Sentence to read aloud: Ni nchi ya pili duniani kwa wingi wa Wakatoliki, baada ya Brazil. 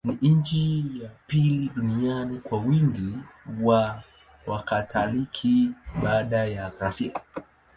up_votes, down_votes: 0, 3